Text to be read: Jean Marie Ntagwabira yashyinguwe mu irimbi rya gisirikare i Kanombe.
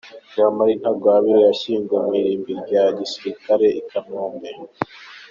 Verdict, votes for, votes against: accepted, 2, 0